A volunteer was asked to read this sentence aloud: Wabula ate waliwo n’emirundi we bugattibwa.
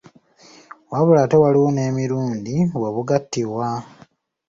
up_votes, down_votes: 2, 0